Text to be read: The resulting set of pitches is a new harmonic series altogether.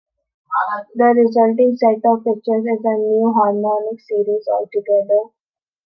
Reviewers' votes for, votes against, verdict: 3, 1, accepted